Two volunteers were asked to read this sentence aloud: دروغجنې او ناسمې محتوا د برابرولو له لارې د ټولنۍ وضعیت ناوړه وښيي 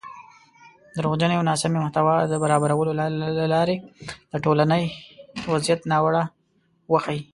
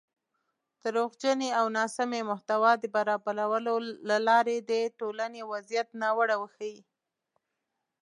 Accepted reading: second